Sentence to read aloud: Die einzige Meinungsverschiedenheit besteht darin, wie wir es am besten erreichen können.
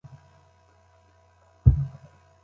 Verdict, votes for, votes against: rejected, 0, 3